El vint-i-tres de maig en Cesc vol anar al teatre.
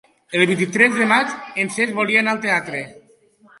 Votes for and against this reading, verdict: 1, 2, rejected